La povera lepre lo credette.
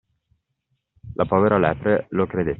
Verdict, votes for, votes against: accepted, 2, 0